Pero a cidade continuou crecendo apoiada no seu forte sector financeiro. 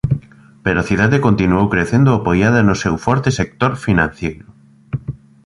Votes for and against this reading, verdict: 0, 2, rejected